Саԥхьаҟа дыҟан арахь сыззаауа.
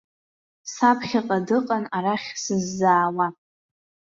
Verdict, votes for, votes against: accepted, 2, 0